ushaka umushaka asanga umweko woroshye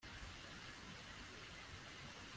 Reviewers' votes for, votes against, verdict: 1, 2, rejected